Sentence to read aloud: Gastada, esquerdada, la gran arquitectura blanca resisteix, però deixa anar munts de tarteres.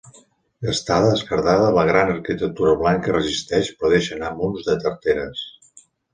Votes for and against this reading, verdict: 2, 0, accepted